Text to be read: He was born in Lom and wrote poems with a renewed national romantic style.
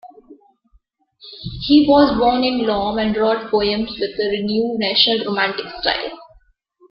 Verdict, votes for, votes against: accepted, 2, 1